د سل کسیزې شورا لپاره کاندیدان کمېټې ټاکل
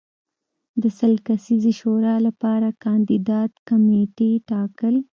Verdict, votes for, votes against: accepted, 2, 0